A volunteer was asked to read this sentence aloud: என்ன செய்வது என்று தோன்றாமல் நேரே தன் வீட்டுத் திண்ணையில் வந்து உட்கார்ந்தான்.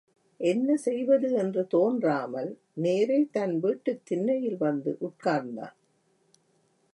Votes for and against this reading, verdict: 2, 0, accepted